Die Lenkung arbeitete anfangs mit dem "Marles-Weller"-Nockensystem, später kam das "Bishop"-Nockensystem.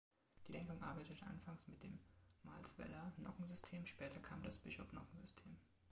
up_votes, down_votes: 2, 1